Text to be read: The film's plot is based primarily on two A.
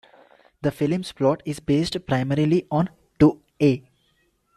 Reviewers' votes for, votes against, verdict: 2, 0, accepted